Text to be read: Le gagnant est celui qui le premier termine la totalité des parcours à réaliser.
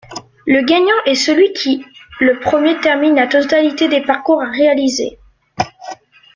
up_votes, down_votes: 2, 1